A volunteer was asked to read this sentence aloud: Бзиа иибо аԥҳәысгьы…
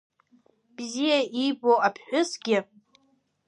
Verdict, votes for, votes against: accepted, 2, 1